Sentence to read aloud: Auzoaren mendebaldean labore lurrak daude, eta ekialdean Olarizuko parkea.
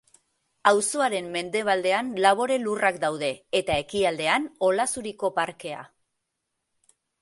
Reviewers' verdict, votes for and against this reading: rejected, 1, 3